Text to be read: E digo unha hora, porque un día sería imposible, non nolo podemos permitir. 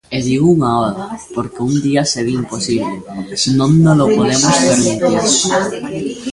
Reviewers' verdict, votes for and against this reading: rejected, 0, 2